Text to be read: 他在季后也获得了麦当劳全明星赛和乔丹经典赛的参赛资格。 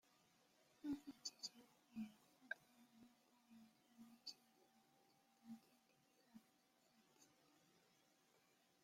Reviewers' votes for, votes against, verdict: 0, 2, rejected